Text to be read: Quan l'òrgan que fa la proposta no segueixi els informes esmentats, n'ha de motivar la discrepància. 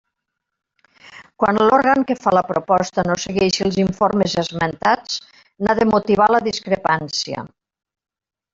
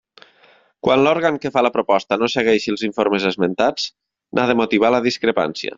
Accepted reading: second